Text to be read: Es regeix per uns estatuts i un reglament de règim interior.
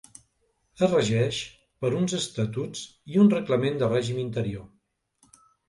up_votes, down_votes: 2, 0